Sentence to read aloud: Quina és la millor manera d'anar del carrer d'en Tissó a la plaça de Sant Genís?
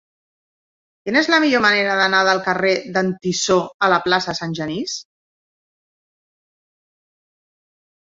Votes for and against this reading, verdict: 2, 1, accepted